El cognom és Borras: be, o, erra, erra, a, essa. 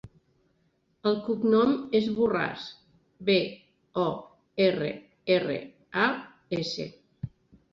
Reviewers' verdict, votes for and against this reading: rejected, 0, 2